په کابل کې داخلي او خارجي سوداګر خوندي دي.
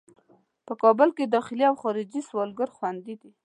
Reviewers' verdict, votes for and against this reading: rejected, 0, 2